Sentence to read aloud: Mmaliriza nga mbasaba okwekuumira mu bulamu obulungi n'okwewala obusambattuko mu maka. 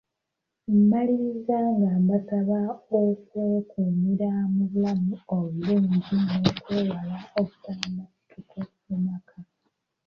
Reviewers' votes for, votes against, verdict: 2, 1, accepted